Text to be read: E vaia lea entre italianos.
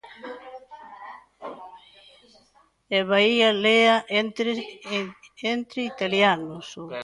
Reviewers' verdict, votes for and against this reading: rejected, 0, 2